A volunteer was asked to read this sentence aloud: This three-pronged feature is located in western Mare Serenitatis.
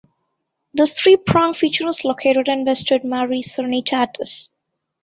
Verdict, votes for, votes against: accepted, 2, 1